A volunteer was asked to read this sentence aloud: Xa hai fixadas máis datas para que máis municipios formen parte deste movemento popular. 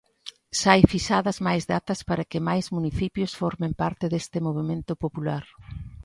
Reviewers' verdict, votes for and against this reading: accepted, 2, 0